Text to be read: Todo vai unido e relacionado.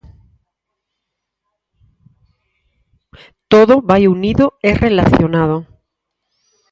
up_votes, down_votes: 4, 0